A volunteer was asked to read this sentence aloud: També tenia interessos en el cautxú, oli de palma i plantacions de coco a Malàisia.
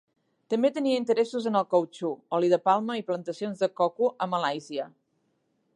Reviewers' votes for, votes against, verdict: 3, 0, accepted